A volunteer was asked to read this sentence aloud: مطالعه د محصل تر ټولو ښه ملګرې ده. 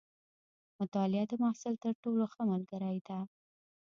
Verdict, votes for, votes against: accepted, 2, 0